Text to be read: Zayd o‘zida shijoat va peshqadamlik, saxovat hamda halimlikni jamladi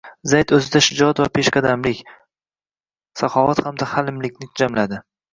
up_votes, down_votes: 2, 0